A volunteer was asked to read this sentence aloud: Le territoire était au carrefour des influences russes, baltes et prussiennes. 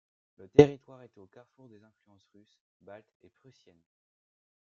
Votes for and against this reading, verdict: 0, 2, rejected